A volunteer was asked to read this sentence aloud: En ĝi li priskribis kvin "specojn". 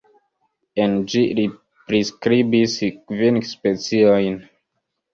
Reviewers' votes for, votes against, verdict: 1, 2, rejected